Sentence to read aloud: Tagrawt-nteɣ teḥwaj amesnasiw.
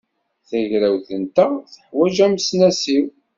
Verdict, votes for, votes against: accepted, 2, 1